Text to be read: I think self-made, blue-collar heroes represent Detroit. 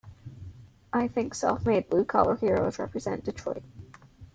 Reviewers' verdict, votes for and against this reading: accepted, 2, 0